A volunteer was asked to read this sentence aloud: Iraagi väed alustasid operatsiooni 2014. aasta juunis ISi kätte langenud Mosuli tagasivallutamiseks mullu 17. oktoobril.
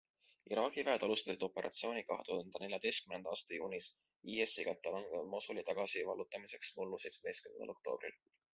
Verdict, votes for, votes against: rejected, 0, 2